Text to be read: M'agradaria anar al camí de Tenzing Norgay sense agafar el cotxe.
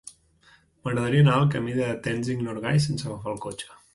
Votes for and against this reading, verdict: 2, 0, accepted